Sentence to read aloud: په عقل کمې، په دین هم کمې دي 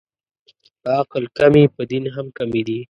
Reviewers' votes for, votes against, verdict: 2, 0, accepted